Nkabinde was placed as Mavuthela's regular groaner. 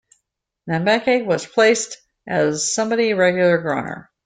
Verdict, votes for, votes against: rejected, 0, 2